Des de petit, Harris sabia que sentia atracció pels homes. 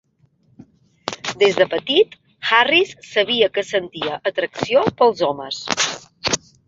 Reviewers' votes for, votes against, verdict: 0, 2, rejected